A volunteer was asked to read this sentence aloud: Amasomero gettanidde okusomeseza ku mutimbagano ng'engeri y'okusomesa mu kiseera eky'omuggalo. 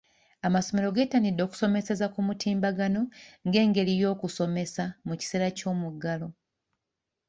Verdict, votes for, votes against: rejected, 1, 2